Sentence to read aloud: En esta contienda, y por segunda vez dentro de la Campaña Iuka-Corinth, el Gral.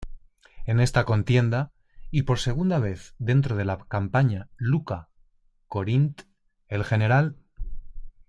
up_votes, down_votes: 2, 0